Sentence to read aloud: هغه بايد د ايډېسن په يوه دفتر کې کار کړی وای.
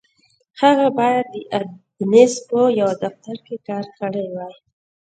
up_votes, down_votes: 1, 2